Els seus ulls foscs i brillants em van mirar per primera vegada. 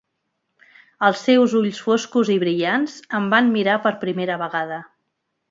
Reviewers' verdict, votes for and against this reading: accepted, 3, 0